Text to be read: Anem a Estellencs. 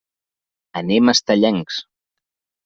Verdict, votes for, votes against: accepted, 3, 0